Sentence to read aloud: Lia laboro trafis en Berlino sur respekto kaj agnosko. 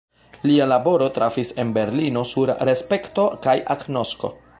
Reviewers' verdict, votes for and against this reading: rejected, 0, 2